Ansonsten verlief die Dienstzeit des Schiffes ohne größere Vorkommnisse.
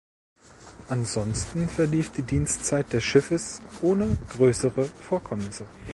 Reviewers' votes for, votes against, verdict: 1, 2, rejected